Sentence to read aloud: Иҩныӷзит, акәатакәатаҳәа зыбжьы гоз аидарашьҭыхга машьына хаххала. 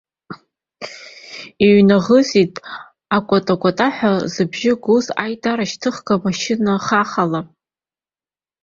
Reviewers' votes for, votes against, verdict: 1, 2, rejected